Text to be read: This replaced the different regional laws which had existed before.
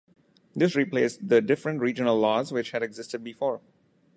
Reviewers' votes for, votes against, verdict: 2, 0, accepted